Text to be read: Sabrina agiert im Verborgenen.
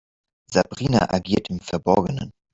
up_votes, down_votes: 6, 0